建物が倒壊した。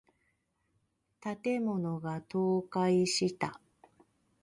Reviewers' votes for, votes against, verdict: 2, 1, accepted